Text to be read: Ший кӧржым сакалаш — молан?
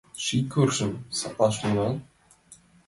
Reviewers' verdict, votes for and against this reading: rejected, 0, 2